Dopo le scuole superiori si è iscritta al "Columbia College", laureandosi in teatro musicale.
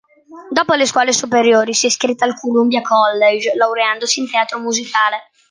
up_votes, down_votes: 2, 0